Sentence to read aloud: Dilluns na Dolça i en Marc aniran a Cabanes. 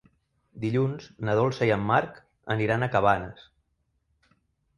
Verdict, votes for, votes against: accepted, 3, 0